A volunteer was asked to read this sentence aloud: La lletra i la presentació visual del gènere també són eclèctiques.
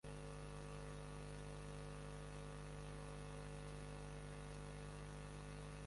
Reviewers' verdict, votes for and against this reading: rejected, 0, 3